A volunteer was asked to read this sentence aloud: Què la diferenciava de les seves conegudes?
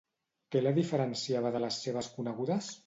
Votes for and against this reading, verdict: 2, 0, accepted